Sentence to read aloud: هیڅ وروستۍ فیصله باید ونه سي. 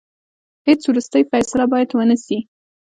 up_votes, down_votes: 3, 0